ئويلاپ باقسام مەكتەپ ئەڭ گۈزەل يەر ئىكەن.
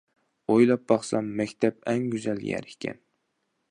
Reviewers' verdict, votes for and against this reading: accepted, 2, 0